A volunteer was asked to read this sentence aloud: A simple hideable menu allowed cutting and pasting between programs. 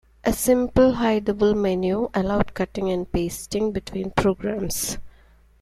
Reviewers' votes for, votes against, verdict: 2, 0, accepted